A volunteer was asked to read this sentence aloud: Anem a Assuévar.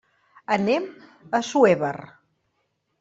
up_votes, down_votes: 2, 0